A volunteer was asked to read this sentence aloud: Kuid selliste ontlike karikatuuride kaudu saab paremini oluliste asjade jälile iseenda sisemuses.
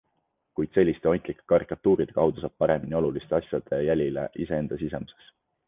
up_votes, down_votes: 2, 0